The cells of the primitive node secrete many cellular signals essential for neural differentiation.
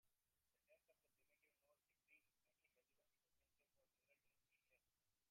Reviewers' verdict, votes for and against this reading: rejected, 0, 2